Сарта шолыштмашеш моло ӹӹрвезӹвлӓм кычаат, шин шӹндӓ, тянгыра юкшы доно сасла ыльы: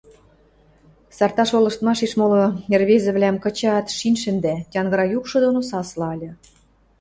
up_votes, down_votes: 2, 0